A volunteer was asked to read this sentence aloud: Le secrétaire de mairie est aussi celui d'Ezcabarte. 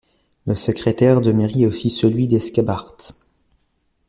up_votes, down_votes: 1, 2